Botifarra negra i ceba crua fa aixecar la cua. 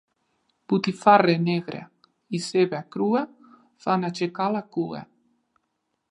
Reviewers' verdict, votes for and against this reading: rejected, 0, 2